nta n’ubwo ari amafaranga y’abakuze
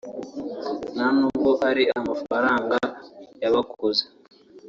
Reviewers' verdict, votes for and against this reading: accepted, 2, 1